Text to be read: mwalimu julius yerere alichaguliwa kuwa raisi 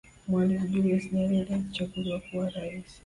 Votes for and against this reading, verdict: 2, 0, accepted